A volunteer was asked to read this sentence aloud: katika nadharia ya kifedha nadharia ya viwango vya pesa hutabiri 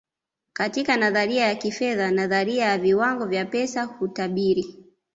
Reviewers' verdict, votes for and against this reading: accepted, 2, 0